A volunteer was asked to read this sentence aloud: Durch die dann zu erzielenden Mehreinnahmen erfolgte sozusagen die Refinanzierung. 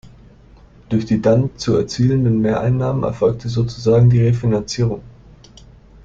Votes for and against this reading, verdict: 2, 0, accepted